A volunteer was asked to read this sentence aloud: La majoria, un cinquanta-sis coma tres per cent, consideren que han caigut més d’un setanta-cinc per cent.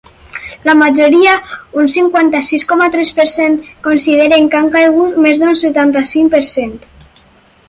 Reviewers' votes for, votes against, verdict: 6, 0, accepted